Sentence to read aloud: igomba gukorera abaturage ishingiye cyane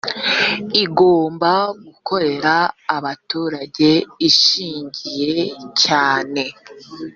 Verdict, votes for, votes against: accepted, 2, 0